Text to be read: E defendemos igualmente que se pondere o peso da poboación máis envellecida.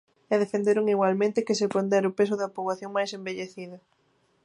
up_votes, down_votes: 0, 2